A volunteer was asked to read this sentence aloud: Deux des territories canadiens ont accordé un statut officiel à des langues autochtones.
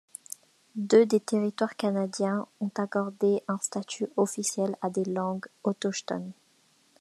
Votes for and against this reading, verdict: 0, 2, rejected